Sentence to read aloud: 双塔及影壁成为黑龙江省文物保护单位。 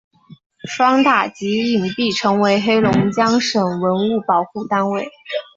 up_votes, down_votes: 2, 0